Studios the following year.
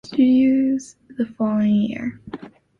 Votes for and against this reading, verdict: 2, 0, accepted